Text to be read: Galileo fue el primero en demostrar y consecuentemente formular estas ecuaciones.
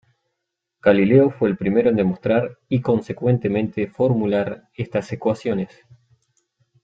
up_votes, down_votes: 2, 0